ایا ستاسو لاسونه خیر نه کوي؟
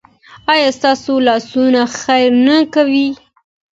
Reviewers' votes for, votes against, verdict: 2, 0, accepted